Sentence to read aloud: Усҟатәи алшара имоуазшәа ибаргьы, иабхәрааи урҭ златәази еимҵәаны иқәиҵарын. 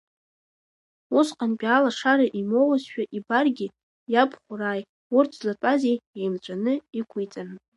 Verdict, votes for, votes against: rejected, 0, 2